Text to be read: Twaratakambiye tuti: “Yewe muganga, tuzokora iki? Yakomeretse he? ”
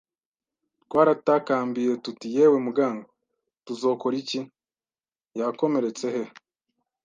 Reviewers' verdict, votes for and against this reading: accepted, 2, 0